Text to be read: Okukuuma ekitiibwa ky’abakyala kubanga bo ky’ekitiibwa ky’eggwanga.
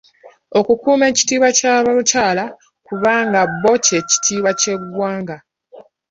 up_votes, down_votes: 2, 0